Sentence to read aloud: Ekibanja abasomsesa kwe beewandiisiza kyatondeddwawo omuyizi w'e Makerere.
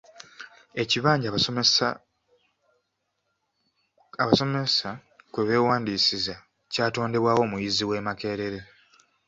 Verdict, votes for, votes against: rejected, 0, 2